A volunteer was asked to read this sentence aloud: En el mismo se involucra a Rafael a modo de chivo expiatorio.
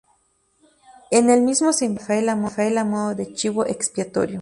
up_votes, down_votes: 0, 2